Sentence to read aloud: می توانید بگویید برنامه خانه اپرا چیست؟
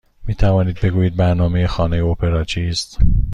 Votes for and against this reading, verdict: 2, 0, accepted